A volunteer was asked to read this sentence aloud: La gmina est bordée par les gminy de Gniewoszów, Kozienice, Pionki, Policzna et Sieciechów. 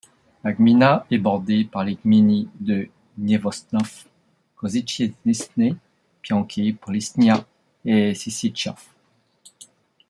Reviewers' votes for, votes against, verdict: 2, 0, accepted